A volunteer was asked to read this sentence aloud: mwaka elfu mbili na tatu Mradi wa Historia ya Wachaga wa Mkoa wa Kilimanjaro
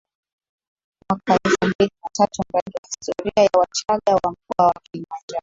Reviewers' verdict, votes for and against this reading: accepted, 2, 1